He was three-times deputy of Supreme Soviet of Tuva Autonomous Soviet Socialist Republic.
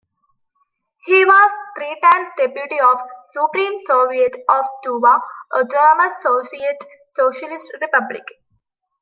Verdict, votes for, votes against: rejected, 1, 2